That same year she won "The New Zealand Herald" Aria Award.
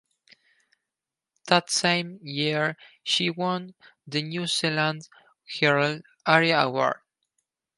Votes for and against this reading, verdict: 4, 0, accepted